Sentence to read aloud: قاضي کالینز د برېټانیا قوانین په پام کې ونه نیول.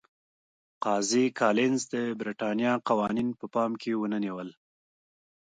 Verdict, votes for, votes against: accepted, 2, 0